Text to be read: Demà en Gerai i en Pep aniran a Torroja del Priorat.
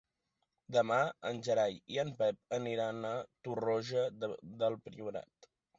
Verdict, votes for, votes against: accepted, 2, 1